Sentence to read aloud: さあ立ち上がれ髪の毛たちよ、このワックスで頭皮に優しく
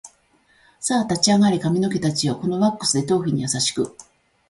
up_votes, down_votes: 1, 2